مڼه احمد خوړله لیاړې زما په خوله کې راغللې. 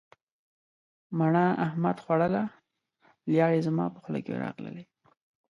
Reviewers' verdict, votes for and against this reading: accepted, 2, 0